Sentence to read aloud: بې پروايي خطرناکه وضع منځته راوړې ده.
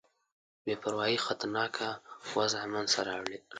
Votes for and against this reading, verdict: 2, 1, accepted